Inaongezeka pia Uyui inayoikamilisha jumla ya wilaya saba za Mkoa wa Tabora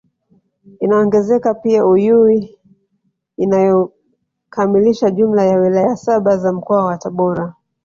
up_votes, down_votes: 1, 3